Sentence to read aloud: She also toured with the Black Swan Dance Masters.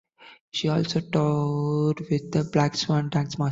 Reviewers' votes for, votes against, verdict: 0, 2, rejected